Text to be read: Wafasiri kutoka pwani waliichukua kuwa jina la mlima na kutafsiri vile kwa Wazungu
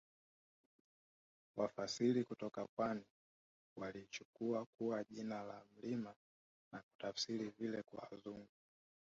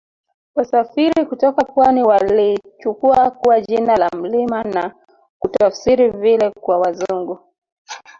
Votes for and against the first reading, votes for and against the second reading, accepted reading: 2, 1, 1, 2, first